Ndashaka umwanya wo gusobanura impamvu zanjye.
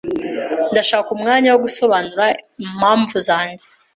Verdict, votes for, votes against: accepted, 2, 0